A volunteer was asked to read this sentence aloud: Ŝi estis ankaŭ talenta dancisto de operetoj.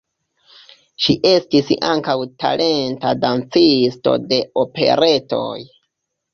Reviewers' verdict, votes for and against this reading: accepted, 2, 1